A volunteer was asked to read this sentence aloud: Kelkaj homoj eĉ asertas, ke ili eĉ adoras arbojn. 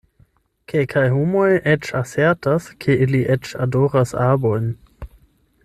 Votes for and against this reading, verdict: 8, 0, accepted